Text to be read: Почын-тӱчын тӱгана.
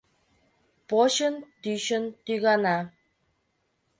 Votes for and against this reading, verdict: 3, 0, accepted